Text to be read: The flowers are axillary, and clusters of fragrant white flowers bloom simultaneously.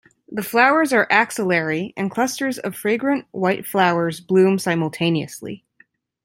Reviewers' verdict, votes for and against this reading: accepted, 2, 0